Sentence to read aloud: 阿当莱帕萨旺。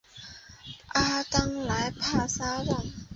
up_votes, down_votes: 6, 0